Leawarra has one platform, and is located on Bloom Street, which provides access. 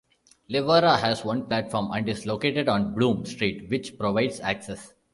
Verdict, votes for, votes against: accepted, 2, 0